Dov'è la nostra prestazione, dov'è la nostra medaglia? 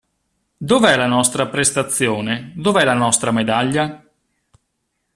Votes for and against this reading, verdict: 2, 0, accepted